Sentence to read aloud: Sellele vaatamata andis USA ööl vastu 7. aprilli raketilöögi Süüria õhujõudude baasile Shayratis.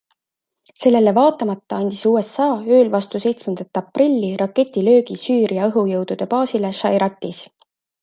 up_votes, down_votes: 0, 2